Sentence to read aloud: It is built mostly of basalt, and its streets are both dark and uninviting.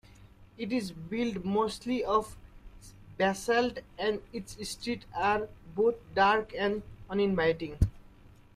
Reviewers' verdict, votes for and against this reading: rejected, 1, 2